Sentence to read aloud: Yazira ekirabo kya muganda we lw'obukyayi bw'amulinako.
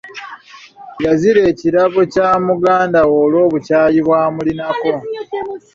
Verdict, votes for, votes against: accepted, 2, 1